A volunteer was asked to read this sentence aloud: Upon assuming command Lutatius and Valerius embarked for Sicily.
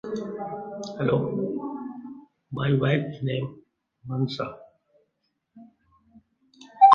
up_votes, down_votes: 0, 2